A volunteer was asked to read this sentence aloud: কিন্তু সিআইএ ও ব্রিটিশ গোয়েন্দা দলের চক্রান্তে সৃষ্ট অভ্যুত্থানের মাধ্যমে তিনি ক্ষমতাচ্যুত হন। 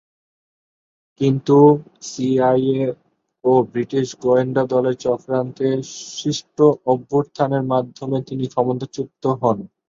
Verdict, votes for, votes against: rejected, 0, 2